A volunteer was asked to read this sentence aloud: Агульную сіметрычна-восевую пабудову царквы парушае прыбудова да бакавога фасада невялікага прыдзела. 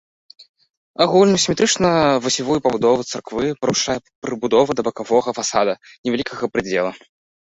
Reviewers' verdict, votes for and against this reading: rejected, 1, 2